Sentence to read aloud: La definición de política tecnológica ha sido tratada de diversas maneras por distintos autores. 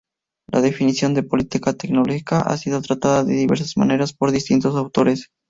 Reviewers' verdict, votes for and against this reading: rejected, 0, 2